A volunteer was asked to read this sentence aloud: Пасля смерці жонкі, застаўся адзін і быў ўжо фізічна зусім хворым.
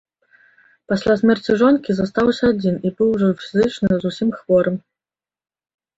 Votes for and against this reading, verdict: 1, 2, rejected